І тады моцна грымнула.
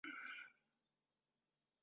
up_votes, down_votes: 0, 3